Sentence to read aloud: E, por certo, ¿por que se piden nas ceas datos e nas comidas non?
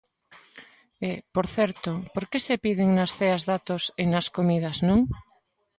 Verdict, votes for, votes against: accepted, 2, 0